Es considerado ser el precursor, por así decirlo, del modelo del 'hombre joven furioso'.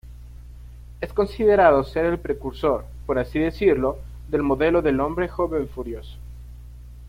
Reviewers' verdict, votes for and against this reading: rejected, 1, 2